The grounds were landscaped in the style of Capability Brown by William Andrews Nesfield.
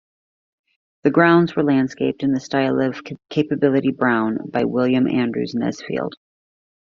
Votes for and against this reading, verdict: 1, 2, rejected